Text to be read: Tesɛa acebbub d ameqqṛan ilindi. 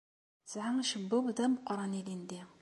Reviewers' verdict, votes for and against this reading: accepted, 2, 0